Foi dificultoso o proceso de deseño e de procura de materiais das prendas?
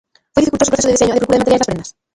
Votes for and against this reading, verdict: 0, 2, rejected